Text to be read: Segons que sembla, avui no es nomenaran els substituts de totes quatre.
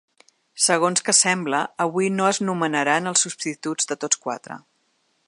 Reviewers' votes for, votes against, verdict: 2, 3, rejected